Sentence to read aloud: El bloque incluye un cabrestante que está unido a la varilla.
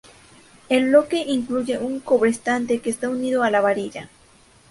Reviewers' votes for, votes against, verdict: 0, 2, rejected